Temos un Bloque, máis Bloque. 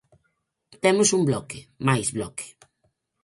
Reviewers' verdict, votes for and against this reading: accepted, 4, 0